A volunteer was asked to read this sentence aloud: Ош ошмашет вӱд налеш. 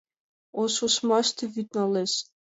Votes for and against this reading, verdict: 1, 2, rejected